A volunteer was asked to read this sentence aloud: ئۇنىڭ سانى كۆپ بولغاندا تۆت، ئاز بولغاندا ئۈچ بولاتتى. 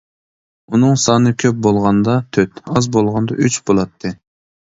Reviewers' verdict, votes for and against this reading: accepted, 2, 0